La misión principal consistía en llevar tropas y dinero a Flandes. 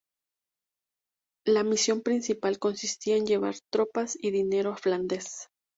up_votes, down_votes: 2, 0